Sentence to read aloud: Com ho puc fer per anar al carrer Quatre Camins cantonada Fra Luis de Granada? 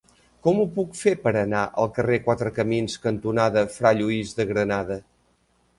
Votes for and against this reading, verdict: 0, 2, rejected